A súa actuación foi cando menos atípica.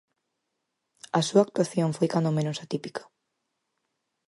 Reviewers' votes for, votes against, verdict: 4, 0, accepted